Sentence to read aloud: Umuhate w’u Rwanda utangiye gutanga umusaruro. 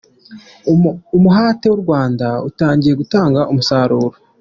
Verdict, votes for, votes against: accepted, 2, 1